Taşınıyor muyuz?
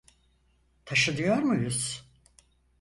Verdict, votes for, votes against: accepted, 4, 0